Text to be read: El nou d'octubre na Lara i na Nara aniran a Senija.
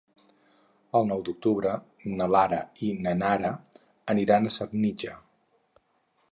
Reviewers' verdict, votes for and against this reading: accepted, 4, 2